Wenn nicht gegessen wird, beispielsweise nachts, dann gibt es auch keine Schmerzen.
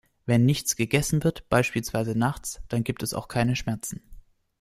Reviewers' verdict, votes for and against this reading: rejected, 0, 2